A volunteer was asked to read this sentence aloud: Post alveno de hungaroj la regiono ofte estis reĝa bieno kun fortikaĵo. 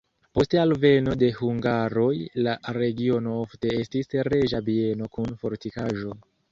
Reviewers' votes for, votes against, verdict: 2, 3, rejected